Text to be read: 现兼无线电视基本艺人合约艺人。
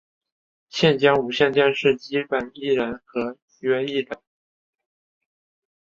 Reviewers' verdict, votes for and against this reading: rejected, 1, 2